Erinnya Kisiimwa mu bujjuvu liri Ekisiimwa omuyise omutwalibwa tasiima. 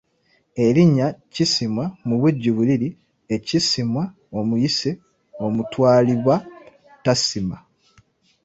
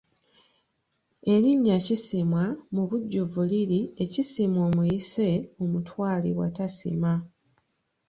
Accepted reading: second